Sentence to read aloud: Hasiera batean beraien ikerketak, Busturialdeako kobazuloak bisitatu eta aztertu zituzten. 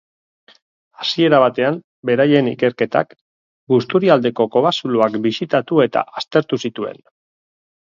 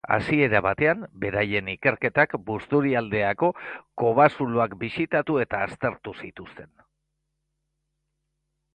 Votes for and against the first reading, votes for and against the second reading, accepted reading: 2, 3, 2, 0, second